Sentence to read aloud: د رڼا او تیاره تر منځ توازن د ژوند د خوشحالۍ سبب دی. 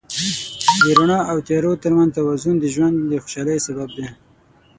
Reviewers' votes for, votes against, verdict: 3, 6, rejected